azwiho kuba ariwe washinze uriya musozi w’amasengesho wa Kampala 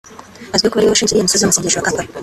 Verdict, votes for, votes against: rejected, 0, 2